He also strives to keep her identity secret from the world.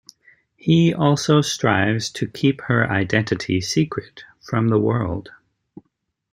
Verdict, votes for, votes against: accepted, 2, 0